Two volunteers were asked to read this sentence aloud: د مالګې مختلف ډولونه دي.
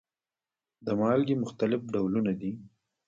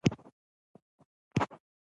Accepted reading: second